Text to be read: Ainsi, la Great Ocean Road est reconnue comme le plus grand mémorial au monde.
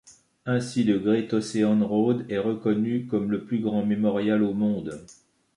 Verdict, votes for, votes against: accepted, 2, 1